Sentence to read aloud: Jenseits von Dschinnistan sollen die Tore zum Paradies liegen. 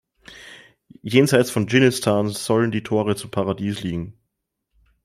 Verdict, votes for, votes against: accepted, 2, 0